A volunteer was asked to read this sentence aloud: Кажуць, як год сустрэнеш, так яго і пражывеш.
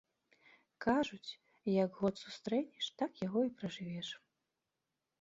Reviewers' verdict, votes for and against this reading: accepted, 2, 0